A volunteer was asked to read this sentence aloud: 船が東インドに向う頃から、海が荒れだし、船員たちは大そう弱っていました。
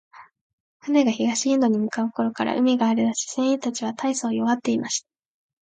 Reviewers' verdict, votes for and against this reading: accepted, 2, 0